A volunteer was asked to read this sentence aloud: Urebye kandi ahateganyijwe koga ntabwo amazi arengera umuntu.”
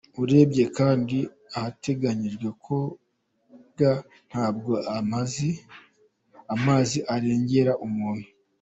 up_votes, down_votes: 1, 2